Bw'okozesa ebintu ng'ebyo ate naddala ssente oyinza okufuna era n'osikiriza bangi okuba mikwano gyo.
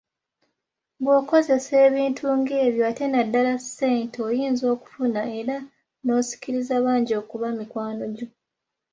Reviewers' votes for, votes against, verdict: 2, 0, accepted